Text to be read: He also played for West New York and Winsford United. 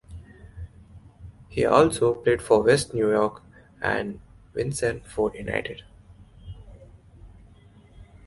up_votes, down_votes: 0, 2